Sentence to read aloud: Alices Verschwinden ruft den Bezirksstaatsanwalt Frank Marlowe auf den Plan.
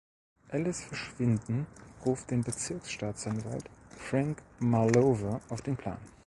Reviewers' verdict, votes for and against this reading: accepted, 4, 0